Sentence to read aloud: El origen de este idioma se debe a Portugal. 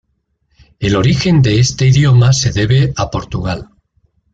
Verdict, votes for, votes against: accepted, 2, 0